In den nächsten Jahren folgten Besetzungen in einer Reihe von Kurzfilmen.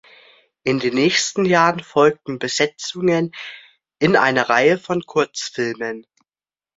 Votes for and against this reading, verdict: 2, 0, accepted